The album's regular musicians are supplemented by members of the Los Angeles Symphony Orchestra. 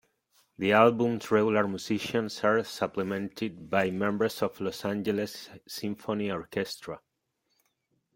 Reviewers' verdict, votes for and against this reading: rejected, 1, 2